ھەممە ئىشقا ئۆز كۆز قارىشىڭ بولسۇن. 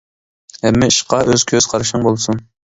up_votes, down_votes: 2, 0